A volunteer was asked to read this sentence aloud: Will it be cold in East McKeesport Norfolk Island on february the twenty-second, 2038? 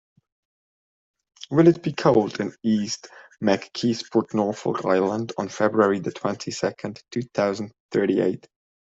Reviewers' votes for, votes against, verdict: 0, 2, rejected